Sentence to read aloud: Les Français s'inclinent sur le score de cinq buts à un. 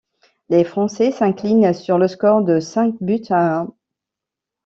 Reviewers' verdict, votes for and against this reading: rejected, 1, 2